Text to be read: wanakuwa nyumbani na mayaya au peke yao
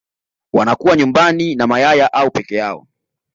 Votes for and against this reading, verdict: 2, 0, accepted